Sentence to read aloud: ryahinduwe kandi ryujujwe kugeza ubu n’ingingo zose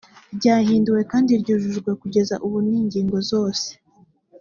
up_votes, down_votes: 3, 0